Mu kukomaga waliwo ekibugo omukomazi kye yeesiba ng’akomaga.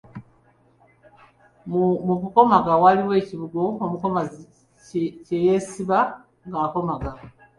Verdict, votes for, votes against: accepted, 2, 0